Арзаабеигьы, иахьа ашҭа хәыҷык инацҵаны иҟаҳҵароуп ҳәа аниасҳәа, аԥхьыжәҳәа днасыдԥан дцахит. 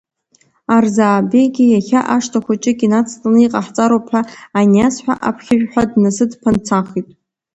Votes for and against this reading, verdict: 2, 0, accepted